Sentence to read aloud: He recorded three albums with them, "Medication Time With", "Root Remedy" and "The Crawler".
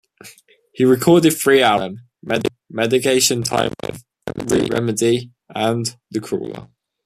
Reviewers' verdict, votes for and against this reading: rejected, 0, 2